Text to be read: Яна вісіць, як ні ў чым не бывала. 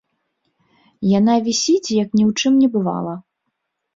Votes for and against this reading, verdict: 2, 0, accepted